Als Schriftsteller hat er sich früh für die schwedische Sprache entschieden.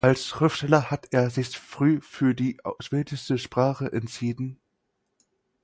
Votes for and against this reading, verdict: 0, 4, rejected